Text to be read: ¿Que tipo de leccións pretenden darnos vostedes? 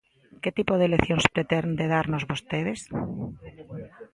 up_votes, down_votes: 0, 2